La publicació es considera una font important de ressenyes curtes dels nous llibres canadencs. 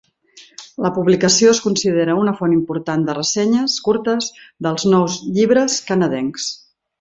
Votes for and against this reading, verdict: 3, 0, accepted